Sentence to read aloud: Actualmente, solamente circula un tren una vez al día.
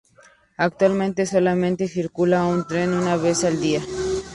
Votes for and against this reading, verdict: 2, 0, accepted